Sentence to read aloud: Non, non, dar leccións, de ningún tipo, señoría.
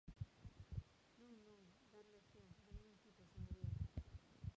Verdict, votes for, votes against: rejected, 0, 2